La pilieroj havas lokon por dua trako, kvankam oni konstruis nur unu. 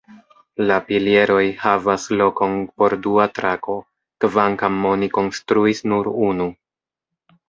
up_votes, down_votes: 1, 2